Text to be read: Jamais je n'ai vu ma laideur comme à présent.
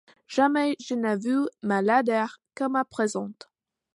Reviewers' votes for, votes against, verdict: 2, 1, accepted